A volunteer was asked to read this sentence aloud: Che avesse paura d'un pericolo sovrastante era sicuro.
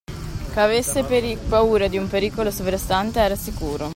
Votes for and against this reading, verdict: 1, 2, rejected